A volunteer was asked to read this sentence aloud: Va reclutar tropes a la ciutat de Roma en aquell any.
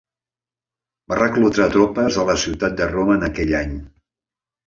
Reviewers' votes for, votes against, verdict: 2, 0, accepted